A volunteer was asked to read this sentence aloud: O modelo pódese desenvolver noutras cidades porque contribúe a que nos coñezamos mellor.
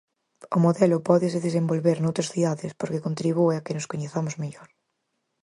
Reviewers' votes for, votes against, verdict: 4, 0, accepted